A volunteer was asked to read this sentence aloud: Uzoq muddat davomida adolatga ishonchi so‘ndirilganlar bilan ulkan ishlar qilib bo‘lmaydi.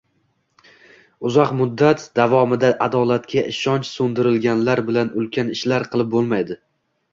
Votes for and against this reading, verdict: 2, 0, accepted